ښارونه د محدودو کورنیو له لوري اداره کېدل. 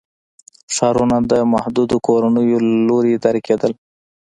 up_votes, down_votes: 2, 1